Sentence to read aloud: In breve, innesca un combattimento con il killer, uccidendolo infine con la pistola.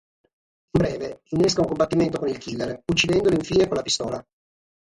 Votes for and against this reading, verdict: 6, 0, accepted